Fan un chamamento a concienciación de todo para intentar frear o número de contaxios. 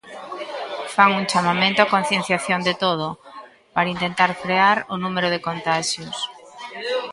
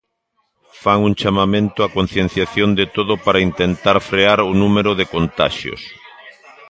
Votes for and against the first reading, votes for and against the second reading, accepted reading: 0, 2, 2, 0, second